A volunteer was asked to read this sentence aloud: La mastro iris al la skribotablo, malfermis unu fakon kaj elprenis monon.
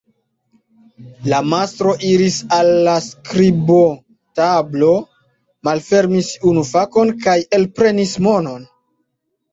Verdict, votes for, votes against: accepted, 2, 0